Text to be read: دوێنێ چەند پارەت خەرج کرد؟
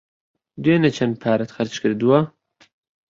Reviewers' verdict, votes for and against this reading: rejected, 0, 2